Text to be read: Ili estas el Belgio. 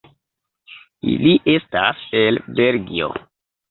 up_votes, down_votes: 1, 2